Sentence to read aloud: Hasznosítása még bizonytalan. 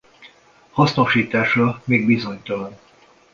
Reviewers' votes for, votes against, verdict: 2, 0, accepted